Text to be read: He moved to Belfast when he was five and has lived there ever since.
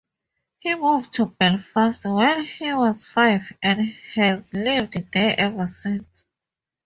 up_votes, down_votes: 2, 0